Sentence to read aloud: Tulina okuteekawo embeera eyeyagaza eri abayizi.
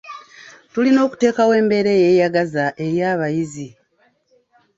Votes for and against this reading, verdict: 2, 0, accepted